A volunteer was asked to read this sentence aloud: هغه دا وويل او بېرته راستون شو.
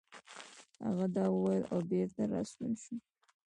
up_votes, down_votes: 0, 2